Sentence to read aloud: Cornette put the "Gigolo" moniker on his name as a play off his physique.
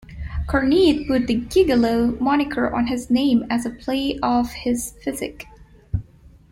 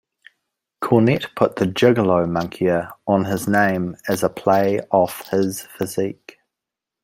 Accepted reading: second